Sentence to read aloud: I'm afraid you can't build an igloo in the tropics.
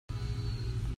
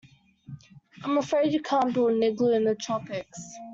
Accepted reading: second